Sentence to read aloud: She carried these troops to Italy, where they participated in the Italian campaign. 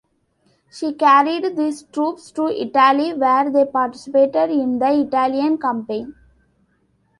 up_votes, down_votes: 2, 0